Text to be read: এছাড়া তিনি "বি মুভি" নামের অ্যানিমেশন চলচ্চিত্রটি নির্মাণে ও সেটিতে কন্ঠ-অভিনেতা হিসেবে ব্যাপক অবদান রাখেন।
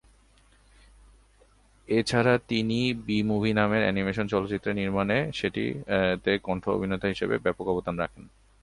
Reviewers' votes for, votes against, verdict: 5, 5, rejected